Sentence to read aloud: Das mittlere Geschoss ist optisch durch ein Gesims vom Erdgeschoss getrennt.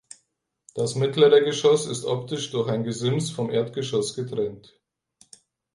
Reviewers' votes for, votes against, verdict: 2, 4, rejected